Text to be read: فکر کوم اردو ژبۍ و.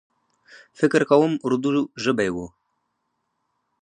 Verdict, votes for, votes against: rejected, 0, 4